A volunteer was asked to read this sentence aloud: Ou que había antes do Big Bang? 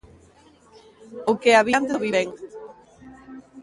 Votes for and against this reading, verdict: 1, 2, rejected